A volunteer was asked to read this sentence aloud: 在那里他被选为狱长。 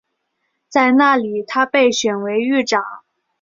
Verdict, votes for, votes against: accepted, 2, 0